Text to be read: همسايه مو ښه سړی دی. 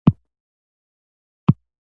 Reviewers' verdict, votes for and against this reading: accepted, 2, 0